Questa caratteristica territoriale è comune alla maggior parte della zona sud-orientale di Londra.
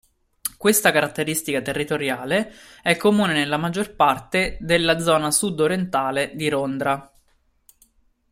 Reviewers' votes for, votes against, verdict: 1, 2, rejected